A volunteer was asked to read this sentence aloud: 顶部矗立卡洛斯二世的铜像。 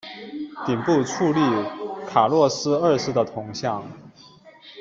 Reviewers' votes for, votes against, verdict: 0, 2, rejected